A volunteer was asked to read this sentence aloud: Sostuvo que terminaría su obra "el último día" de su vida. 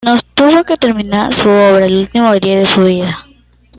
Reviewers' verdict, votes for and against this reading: rejected, 0, 2